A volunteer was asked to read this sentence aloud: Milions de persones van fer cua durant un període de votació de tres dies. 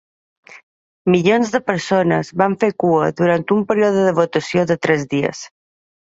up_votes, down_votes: 0, 2